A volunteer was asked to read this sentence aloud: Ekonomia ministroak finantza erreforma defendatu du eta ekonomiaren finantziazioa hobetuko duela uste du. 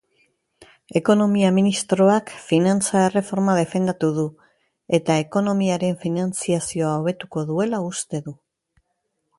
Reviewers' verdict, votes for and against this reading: accepted, 2, 0